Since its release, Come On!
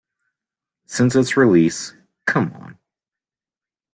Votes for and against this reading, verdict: 2, 0, accepted